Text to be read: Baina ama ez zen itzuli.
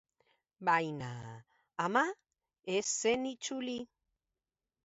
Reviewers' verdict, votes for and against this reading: rejected, 0, 2